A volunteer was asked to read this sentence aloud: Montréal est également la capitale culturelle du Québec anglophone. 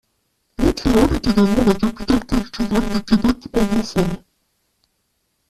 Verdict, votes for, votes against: rejected, 0, 2